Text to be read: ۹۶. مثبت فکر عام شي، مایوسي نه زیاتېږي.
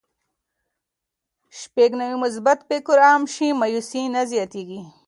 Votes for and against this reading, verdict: 0, 2, rejected